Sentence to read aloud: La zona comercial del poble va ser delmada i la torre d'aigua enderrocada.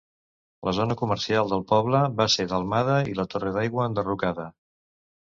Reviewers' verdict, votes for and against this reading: accepted, 2, 0